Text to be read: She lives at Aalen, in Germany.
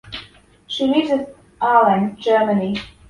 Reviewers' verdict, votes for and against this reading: rejected, 0, 2